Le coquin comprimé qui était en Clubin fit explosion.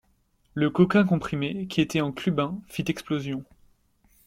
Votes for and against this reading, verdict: 2, 0, accepted